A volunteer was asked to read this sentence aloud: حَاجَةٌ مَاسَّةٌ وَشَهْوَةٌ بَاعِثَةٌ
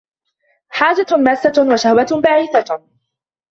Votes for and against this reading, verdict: 0, 2, rejected